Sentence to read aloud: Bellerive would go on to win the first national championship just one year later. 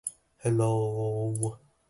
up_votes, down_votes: 0, 2